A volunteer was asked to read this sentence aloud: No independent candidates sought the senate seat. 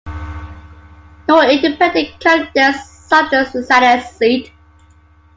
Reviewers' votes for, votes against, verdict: 2, 1, accepted